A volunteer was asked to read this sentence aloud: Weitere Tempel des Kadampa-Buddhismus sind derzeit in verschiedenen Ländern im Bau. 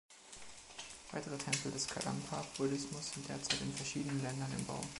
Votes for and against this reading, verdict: 0, 2, rejected